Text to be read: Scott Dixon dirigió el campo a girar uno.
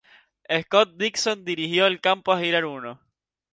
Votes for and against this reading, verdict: 2, 0, accepted